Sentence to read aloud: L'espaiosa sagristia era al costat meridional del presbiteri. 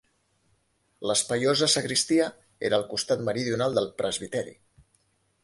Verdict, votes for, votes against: accepted, 5, 0